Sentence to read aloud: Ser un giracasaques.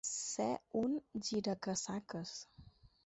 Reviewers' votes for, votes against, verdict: 4, 0, accepted